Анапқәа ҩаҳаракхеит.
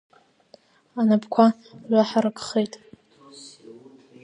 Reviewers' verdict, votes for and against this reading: accepted, 2, 1